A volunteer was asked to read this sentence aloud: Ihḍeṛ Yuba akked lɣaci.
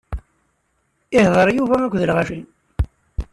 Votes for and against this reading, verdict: 2, 0, accepted